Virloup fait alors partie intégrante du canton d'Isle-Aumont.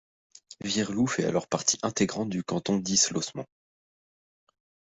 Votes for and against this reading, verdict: 1, 2, rejected